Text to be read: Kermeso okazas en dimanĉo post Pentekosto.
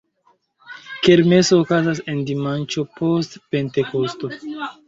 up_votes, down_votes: 1, 2